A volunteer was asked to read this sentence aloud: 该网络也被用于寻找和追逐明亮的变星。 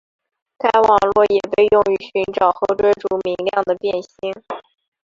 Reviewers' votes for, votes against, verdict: 5, 2, accepted